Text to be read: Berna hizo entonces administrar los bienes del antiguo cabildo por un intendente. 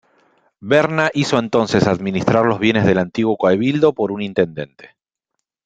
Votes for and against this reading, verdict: 1, 2, rejected